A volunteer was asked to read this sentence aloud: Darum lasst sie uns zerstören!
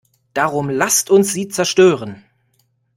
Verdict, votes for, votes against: rejected, 0, 2